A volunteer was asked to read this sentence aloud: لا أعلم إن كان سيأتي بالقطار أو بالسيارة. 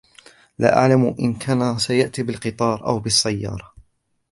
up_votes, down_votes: 1, 2